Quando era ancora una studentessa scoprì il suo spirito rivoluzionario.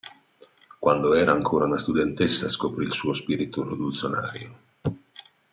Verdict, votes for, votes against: rejected, 0, 2